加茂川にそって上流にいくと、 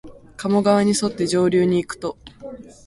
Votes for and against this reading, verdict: 2, 0, accepted